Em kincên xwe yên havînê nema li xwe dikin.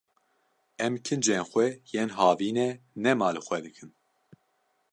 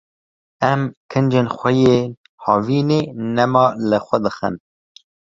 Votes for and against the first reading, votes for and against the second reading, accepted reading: 2, 0, 0, 2, first